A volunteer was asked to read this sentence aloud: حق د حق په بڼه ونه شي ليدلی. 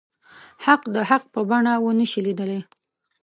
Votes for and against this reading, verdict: 2, 0, accepted